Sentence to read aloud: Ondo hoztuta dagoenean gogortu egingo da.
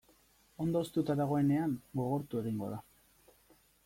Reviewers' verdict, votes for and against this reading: accepted, 2, 0